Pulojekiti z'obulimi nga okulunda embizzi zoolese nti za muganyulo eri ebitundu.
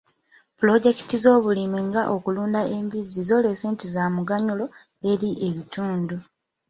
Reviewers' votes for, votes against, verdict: 2, 1, accepted